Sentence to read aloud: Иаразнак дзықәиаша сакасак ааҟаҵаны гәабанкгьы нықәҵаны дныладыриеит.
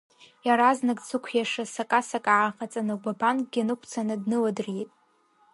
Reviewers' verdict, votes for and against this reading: rejected, 0, 2